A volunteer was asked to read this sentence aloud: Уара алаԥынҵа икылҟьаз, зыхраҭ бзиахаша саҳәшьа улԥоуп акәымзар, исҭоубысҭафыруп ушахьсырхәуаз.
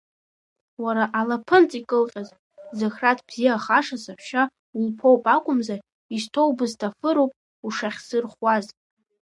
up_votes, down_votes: 1, 2